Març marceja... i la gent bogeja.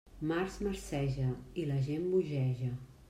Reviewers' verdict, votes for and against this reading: accepted, 2, 0